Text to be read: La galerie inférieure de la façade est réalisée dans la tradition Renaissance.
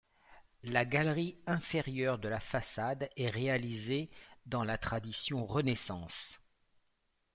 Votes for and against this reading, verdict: 2, 0, accepted